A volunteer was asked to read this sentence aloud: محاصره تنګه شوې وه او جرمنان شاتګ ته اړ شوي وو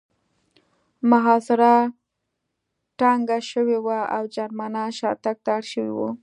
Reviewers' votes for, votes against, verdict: 2, 0, accepted